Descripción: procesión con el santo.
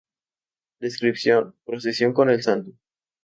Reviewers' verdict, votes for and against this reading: accepted, 2, 0